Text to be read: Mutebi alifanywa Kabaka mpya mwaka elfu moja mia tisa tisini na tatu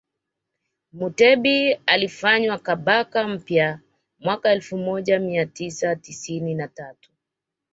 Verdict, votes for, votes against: accepted, 2, 0